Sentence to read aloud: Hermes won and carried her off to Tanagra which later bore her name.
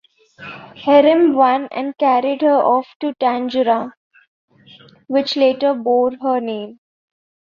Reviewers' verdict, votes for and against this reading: rejected, 0, 2